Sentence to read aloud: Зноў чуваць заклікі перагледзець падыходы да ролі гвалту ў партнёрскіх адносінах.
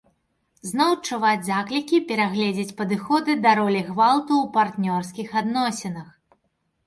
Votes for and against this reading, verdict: 3, 0, accepted